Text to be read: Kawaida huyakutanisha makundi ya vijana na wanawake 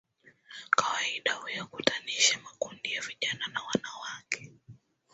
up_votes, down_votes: 5, 4